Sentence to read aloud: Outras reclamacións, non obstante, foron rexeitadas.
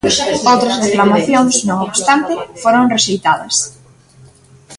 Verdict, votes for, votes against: accepted, 2, 1